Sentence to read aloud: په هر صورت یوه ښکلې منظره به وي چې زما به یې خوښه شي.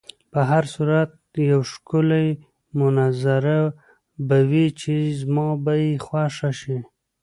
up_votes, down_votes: 0, 2